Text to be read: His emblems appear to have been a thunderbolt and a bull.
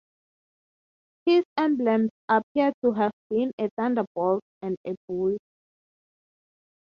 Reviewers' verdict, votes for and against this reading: accepted, 3, 0